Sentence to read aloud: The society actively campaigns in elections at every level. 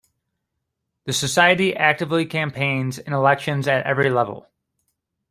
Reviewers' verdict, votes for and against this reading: accepted, 2, 0